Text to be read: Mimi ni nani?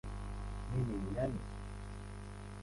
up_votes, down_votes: 2, 12